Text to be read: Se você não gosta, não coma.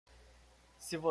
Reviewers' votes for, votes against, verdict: 0, 2, rejected